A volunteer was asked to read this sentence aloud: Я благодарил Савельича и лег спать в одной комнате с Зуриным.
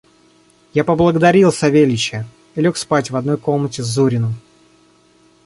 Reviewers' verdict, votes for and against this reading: accepted, 2, 1